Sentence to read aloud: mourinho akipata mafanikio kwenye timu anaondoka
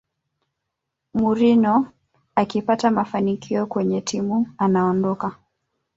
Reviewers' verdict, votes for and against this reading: rejected, 1, 2